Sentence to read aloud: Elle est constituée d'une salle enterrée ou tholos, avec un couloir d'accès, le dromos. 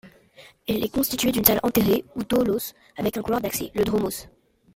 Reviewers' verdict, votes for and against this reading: rejected, 0, 2